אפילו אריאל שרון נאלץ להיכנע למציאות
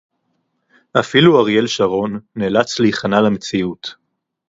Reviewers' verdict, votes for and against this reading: accepted, 4, 2